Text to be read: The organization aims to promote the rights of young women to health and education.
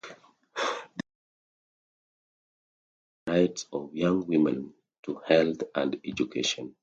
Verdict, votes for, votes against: rejected, 0, 2